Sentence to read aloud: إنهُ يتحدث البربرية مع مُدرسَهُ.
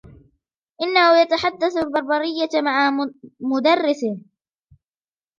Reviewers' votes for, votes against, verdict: 2, 1, accepted